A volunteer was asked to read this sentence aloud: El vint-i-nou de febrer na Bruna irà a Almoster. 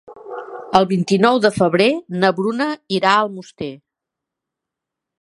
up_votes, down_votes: 4, 0